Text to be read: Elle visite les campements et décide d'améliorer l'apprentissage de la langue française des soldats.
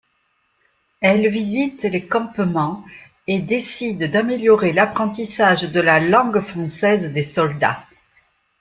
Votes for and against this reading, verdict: 2, 1, accepted